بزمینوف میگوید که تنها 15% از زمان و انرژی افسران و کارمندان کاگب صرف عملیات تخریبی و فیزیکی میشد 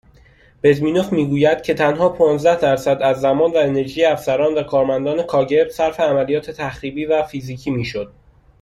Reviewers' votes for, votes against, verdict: 0, 2, rejected